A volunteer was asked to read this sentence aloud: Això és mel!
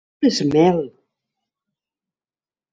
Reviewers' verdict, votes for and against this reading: rejected, 0, 2